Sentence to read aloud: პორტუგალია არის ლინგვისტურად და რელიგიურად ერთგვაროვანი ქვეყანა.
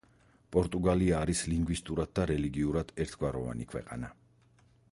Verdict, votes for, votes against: rejected, 2, 4